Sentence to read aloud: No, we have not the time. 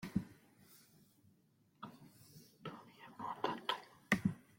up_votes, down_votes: 1, 2